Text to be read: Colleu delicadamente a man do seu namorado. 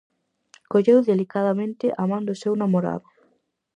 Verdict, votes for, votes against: accepted, 4, 0